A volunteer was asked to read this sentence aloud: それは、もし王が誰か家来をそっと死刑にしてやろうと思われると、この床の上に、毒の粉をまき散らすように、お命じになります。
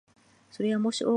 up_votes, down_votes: 0, 2